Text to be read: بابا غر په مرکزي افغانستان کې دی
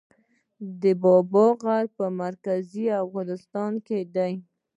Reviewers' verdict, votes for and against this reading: accepted, 2, 0